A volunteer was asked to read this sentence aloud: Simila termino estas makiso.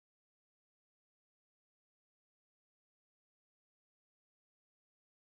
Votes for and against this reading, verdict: 2, 1, accepted